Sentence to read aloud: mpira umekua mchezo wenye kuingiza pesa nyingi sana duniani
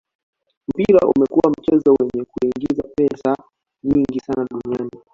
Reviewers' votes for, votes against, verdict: 1, 2, rejected